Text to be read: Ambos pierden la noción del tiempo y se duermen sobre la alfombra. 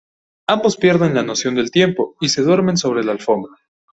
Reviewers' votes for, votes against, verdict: 2, 0, accepted